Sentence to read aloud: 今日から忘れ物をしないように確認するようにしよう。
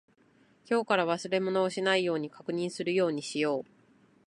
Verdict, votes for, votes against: accepted, 2, 0